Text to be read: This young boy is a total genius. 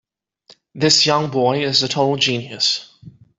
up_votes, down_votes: 2, 0